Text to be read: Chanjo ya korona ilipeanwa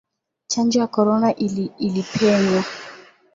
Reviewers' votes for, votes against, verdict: 6, 9, rejected